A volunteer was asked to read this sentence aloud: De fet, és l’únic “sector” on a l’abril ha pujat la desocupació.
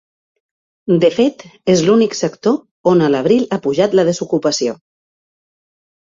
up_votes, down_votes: 3, 0